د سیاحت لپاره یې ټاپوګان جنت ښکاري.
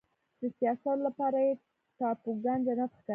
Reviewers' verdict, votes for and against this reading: rejected, 0, 2